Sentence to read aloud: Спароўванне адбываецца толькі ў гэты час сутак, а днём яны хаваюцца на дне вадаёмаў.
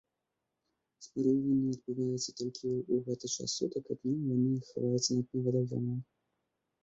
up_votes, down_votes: 1, 2